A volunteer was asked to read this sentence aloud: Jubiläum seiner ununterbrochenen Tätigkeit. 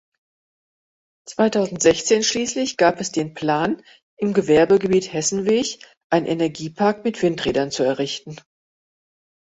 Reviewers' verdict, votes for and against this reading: rejected, 0, 2